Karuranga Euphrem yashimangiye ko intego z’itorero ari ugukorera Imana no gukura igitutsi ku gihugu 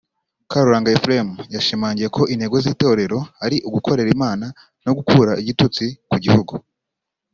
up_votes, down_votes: 1, 2